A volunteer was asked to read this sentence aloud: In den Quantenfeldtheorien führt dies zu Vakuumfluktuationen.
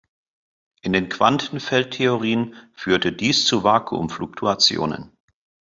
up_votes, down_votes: 1, 2